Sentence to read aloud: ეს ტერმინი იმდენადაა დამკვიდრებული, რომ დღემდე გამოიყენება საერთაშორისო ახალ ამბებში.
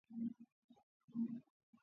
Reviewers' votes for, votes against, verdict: 0, 2, rejected